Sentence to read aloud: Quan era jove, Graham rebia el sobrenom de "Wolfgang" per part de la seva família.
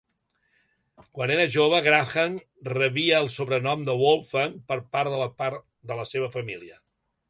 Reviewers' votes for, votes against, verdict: 1, 3, rejected